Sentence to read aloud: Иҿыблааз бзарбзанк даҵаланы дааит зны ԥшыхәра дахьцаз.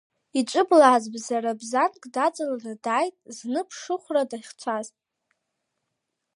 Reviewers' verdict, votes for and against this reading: accepted, 2, 1